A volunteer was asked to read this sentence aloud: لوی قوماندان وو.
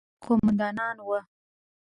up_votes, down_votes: 0, 2